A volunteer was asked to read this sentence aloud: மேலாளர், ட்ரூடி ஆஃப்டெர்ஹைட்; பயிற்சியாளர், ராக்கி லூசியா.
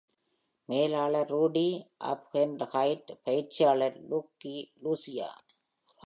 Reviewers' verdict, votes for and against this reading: rejected, 0, 2